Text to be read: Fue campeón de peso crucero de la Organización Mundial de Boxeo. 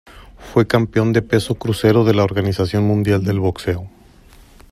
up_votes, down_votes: 1, 2